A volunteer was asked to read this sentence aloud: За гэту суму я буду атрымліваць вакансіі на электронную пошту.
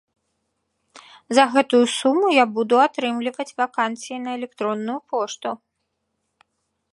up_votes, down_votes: 1, 2